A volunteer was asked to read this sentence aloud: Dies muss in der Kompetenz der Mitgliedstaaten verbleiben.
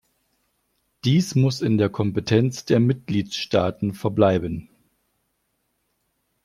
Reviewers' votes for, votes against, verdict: 2, 0, accepted